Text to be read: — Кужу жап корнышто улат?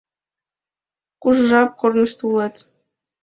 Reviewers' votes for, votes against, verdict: 2, 0, accepted